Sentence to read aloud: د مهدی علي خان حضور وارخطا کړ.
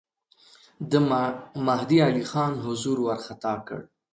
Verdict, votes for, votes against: rejected, 1, 2